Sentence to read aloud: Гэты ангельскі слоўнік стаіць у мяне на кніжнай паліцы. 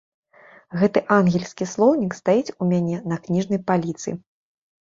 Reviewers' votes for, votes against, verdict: 0, 2, rejected